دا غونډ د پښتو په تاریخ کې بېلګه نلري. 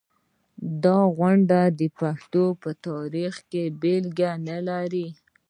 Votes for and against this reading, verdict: 1, 2, rejected